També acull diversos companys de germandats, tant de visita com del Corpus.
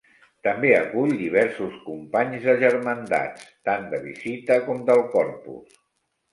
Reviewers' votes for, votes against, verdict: 2, 0, accepted